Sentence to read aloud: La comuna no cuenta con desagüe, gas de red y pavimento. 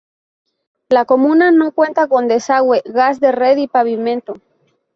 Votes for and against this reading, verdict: 2, 0, accepted